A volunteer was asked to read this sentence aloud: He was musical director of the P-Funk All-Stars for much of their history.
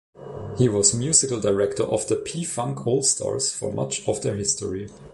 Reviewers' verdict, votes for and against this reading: accepted, 2, 0